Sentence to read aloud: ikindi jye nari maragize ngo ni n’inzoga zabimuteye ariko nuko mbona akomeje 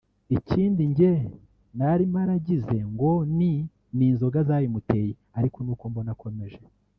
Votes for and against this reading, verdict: 0, 2, rejected